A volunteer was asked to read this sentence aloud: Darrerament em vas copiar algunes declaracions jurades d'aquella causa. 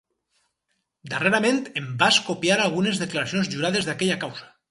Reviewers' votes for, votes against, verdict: 4, 0, accepted